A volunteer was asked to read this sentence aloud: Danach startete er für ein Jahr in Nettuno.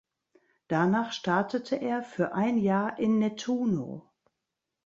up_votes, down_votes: 2, 0